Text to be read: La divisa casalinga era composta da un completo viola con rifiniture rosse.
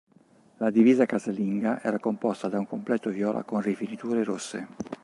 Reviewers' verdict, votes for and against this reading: accepted, 2, 0